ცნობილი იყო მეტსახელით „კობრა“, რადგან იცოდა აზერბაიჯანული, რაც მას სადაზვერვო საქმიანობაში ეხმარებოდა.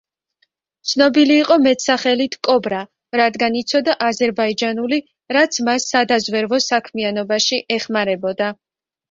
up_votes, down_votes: 2, 0